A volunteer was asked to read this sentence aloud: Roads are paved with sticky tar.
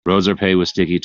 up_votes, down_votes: 0, 2